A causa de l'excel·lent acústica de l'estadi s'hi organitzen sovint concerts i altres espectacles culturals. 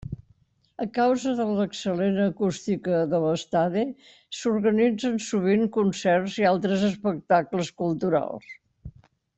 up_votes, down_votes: 1, 2